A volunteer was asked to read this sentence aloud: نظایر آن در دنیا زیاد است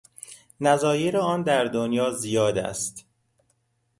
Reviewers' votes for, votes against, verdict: 2, 0, accepted